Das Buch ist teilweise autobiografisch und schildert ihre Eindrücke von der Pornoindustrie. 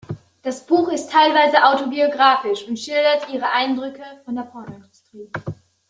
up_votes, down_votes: 2, 0